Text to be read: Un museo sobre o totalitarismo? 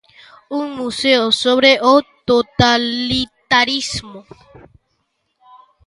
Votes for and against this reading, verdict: 1, 2, rejected